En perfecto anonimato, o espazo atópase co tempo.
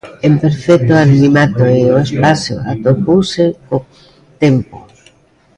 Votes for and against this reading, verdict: 0, 2, rejected